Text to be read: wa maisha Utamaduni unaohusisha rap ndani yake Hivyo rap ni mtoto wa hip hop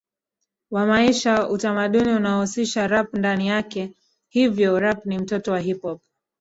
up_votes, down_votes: 1, 2